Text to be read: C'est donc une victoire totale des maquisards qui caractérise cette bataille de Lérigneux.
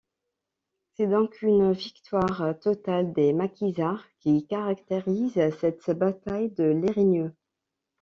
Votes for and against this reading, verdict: 2, 0, accepted